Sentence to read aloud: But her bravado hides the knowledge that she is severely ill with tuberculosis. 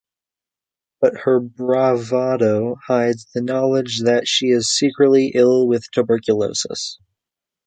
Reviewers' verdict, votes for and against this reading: rejected, 0, 2